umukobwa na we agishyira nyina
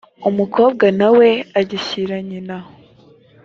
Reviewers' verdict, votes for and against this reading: accepted, 4, 0